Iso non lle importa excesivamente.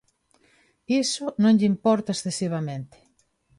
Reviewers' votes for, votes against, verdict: 2, 0, accepted